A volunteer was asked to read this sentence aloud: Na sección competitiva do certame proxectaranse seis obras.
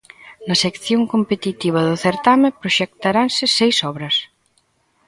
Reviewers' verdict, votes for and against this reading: accepted, 2, 0